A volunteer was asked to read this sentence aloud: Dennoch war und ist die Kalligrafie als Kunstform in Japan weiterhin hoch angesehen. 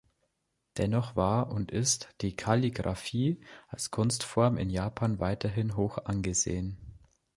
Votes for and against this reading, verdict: 2, 0, accepted